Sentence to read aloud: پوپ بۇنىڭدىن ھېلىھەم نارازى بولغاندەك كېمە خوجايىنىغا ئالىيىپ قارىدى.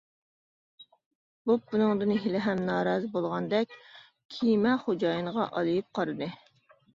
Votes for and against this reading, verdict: 0, 2, rejected